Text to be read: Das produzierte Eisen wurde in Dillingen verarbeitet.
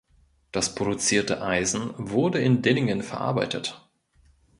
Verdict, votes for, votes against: accepted, 2, 0